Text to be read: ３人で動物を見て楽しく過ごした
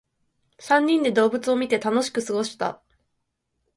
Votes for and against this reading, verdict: 0, 2, rejected